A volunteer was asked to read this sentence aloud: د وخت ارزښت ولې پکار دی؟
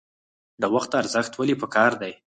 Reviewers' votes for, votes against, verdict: 4, 2, accepted